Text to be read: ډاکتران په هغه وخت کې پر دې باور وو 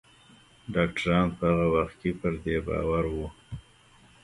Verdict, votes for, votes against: rejected, 0, 2